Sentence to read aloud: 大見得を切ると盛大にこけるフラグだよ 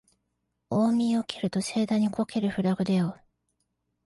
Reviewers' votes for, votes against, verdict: 0, 2, rejected